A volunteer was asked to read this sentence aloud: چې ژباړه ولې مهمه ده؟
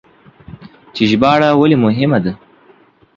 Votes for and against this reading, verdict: 2, 0, accepted